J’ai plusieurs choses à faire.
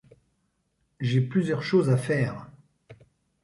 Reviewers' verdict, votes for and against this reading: accepted, 2, 0